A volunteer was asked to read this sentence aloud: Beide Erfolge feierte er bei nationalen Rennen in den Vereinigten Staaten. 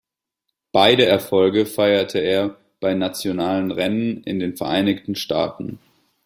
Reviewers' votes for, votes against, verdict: 2, 0, accepted